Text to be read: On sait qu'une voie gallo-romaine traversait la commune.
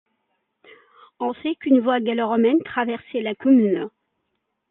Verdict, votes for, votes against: accepted, 2, 1